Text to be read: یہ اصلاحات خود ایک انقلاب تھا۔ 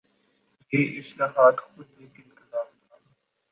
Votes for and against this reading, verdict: 0, 2, rejected